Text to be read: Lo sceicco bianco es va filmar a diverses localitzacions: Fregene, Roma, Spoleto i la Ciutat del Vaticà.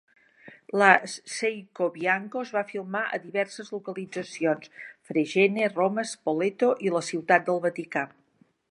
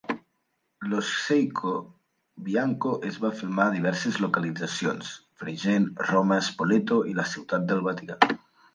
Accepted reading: second